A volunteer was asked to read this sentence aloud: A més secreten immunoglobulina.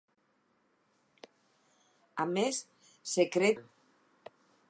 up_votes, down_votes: 0, 4